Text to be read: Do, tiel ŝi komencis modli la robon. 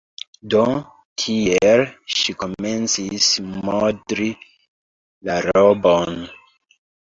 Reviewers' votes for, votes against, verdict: 2, 1, accepted